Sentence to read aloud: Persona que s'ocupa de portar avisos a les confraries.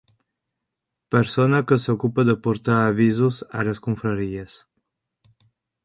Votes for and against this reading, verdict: 2, 0, accepted